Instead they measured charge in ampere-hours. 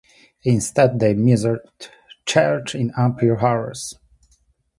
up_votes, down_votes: 2, 1